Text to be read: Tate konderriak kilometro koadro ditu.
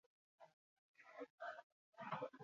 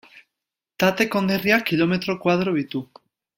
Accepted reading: second